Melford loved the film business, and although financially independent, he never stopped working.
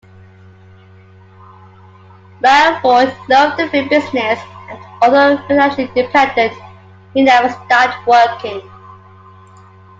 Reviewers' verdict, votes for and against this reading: accepted, 2, 1